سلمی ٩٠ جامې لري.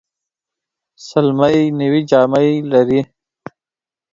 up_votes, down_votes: 0, 2